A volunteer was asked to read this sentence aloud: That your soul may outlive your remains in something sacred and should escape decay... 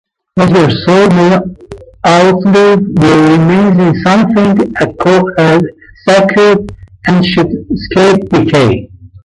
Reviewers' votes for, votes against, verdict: 0, 2, rejected